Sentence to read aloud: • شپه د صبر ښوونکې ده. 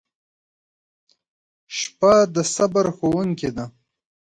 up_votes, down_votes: 2, 0